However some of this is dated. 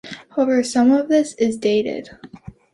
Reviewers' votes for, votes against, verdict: 2, 0, accepted